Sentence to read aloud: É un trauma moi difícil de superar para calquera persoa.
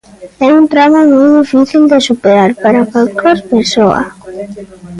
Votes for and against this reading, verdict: 0, 2, rejected